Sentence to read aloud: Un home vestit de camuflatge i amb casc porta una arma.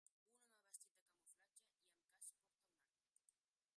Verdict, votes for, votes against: rejected, 1, 2